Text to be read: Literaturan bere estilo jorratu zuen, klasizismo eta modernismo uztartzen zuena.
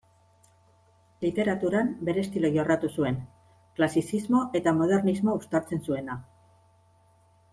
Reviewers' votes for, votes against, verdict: 2, 0, accepted